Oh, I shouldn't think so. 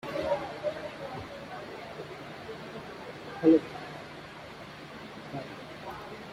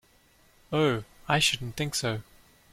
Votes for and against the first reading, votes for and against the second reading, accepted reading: 0, 2, 2, 0, second